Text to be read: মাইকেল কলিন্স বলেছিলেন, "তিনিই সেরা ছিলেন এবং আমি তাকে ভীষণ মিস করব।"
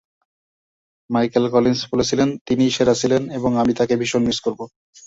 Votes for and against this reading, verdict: 3, 0, accepted